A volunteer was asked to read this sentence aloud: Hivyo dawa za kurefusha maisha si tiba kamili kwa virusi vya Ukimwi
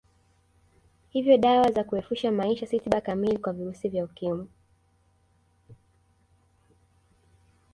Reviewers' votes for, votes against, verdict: 2, 0, accepted